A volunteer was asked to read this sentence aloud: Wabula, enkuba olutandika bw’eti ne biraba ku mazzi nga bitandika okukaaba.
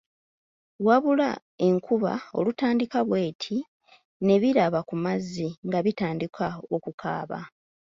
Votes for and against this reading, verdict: 2, 0, accepted